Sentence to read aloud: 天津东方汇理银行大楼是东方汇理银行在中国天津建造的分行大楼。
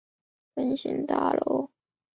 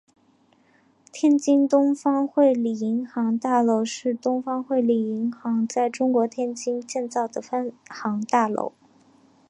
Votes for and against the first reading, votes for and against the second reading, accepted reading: 0, 2, 2, 1, second